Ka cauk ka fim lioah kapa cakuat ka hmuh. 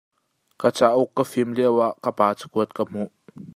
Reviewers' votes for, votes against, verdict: 2, 0, accepted